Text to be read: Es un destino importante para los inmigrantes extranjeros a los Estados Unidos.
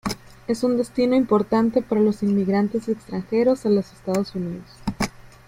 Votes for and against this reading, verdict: 2, 0, accepted